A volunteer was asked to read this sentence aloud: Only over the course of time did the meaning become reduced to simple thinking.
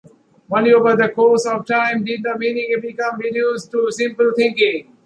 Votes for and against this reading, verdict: 2, 0, accepted